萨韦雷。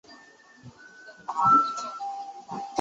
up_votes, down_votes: 0, 2